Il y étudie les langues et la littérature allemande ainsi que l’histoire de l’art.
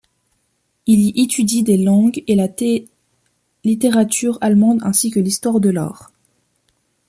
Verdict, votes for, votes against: rejected, 1, 2